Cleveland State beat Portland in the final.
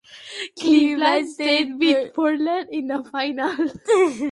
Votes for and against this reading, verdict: 1, 2, rejected